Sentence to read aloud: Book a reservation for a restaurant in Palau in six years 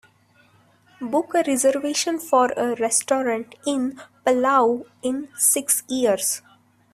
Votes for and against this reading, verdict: 3, 0, accepted